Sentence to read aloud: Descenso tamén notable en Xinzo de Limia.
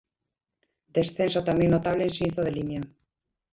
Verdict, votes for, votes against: rejected, 0, 2